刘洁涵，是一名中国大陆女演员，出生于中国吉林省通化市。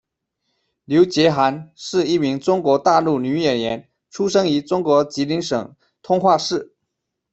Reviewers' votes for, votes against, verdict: 2, 1, accepted